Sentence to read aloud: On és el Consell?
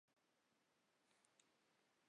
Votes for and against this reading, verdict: 1, 2, rejected